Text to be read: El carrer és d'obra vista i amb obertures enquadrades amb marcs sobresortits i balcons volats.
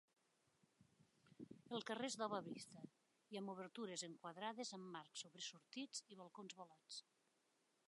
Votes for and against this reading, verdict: 2, 0, accepted